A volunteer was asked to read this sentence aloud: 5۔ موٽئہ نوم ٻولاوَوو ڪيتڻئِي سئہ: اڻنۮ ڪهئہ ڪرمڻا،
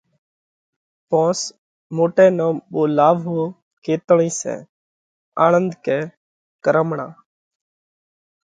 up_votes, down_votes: 0, 2